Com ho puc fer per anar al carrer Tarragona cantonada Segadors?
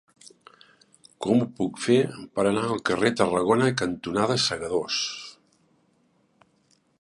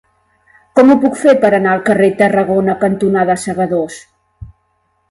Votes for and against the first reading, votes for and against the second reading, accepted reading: 0, 2, 2, 0, second